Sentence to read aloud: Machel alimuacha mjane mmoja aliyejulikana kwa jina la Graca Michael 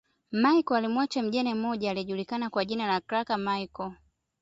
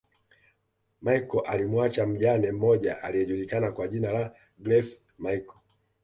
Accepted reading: first